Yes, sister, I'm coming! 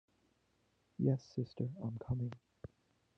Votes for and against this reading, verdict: 2, 1, accepted